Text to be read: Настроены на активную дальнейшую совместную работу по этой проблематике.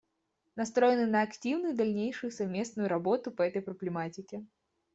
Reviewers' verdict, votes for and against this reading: accepted, 2, 0